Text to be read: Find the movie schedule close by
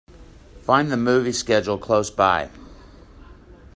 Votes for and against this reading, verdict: 2, 0, accepted